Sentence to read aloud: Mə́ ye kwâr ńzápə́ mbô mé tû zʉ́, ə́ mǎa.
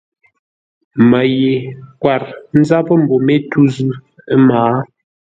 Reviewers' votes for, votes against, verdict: 2, 0, accepted